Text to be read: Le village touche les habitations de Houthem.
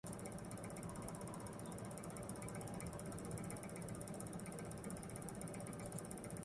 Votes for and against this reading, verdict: 0, 2, rejected